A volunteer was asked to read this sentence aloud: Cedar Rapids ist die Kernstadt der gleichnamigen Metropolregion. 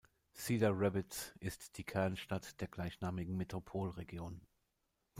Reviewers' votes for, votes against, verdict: 1, 2, rejected